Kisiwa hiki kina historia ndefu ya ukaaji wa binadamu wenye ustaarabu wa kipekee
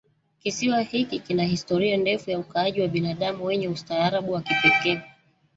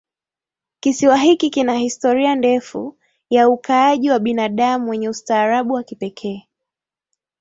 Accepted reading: second